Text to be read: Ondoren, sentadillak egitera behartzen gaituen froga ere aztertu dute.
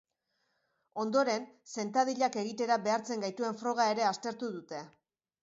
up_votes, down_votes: 2, 0